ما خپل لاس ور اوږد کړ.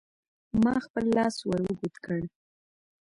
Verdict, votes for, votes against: accepted, 2, 1